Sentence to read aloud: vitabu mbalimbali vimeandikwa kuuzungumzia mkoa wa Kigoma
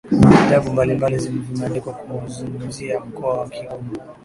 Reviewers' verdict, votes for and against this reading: accepted, 2, 0